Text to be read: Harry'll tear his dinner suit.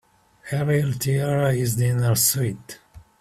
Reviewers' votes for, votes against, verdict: 2, 0, accepted